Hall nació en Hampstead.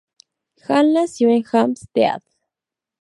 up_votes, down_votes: 0, 2